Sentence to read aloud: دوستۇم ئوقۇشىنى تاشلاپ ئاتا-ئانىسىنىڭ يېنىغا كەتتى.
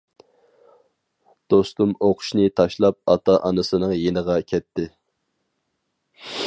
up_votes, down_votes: 4, 0